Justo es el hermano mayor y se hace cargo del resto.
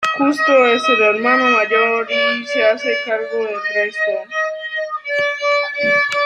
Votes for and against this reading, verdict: 0, 2, rejected